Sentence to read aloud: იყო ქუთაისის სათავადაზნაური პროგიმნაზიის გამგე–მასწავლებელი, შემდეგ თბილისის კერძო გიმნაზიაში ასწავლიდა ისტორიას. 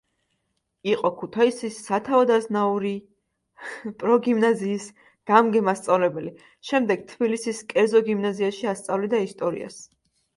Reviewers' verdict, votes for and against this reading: rejected, 1, 2